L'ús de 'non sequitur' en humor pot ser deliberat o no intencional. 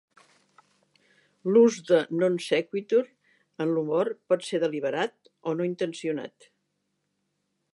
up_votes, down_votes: 0, 2